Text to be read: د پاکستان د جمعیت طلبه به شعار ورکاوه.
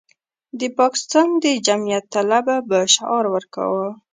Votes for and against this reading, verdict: 1, 2, rejected